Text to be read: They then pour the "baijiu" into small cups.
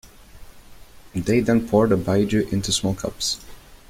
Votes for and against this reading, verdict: 2, 0, accepted